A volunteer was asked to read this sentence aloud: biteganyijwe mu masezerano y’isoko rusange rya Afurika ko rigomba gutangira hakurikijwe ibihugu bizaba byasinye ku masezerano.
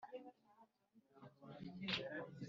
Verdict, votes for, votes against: rejected, 0, 2